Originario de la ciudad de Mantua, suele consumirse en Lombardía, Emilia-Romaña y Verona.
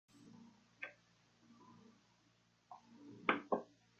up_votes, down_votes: 0, 2